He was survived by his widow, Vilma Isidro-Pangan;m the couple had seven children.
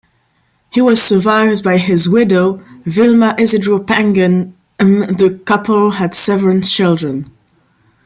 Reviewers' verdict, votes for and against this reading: accepted, 2, 1